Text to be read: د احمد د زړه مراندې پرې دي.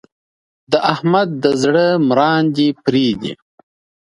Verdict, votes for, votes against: accepted, 2, 0